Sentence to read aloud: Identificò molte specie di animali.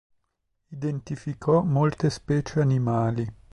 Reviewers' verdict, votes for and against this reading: rejected, 0, 3